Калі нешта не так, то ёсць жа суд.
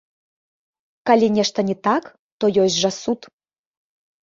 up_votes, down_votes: 2, 1